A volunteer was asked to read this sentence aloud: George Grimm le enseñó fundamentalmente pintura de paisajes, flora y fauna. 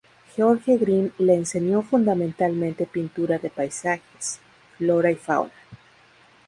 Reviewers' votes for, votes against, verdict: 4, 0, accepted